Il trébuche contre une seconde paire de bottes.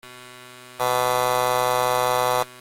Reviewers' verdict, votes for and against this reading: rejected, 0, 2